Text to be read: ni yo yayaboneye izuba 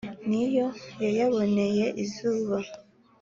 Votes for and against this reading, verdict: 2, 0, accepted